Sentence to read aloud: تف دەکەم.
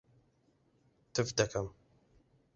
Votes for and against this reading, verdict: 2, 1, accepted